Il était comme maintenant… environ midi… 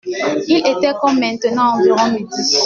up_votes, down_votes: 1, 2